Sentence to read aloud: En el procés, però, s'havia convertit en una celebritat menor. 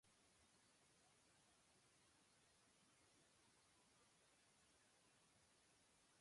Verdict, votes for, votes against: rejected, 0, 3